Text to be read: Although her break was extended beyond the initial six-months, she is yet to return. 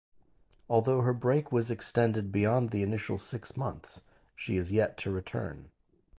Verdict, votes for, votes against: rejected, 0, 2